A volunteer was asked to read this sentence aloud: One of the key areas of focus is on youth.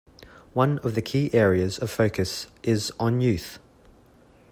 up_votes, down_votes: 2, 0